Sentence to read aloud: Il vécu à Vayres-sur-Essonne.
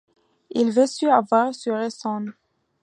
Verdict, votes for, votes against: rejected, 0, 2